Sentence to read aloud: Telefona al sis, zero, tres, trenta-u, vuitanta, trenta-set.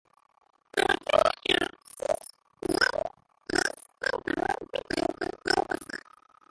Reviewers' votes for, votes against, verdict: 1, 2, rejected